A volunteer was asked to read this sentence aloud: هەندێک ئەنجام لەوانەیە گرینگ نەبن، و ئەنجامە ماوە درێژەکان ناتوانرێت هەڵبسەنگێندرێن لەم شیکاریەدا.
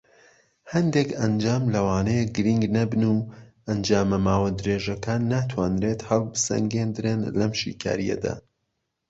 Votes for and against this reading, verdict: 2, 0, accepted